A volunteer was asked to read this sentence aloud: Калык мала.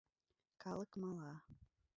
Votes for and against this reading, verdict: 1, 2, rejected